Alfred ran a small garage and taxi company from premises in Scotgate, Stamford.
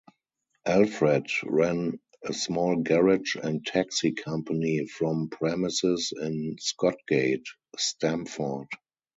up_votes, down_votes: 4, 0